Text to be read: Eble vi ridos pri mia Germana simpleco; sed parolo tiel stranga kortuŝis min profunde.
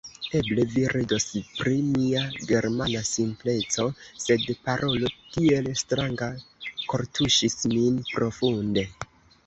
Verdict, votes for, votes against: accepted, 3, 2